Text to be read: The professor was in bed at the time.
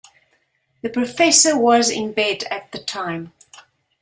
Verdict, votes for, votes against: accepted, 2, 0